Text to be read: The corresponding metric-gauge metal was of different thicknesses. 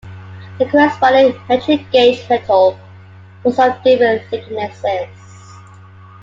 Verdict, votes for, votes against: accepted, 2, 1